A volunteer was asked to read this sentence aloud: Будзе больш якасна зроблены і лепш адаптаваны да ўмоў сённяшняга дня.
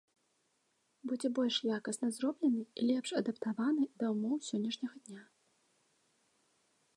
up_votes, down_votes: 1, 2